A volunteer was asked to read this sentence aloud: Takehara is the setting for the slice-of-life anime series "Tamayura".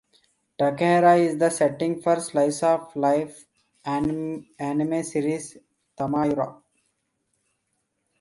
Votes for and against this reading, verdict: 0, 2, rejected